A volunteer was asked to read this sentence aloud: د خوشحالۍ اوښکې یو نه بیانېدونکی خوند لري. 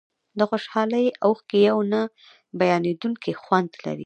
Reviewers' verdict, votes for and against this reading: rejected, 0, 2